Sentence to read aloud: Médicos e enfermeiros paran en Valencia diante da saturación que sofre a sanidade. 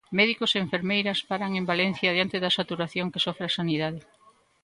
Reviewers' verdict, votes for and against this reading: rejected, 1, 2